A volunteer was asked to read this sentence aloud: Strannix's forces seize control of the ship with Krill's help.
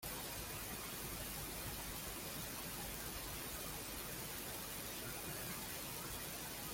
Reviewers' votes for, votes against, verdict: 0, 2, rejected